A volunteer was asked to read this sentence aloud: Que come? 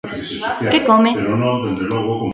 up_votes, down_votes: 1, 2